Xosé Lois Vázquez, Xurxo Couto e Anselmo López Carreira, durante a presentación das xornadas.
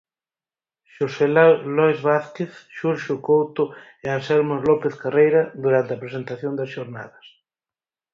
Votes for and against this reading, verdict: 0, 4, rejected